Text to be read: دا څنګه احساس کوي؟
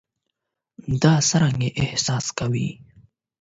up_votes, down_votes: 4, 8